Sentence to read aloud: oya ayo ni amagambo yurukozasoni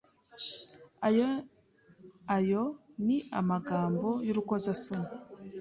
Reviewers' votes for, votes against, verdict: 0, 2, rejected